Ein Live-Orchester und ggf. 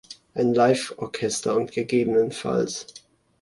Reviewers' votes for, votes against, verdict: 2, 0, accepted